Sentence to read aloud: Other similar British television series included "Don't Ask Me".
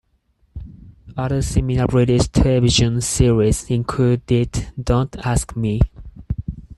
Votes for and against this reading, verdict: 4, 0, accepted